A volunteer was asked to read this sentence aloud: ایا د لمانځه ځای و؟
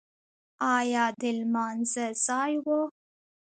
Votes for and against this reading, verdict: 1, 2, rejected